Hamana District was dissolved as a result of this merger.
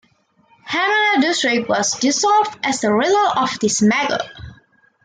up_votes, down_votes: 2, 1